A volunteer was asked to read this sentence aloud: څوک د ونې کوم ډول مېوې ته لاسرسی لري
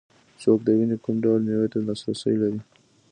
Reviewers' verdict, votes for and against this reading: accepted, 2, 0